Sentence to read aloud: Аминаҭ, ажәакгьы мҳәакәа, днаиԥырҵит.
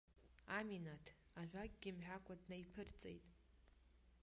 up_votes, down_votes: 0, 2